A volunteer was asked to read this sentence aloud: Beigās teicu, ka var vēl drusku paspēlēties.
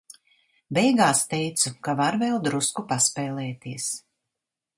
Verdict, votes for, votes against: accepted, 2, 0